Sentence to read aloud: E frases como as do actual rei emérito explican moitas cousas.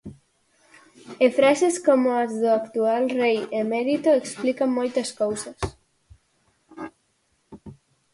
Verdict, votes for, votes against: accepted, 4, 0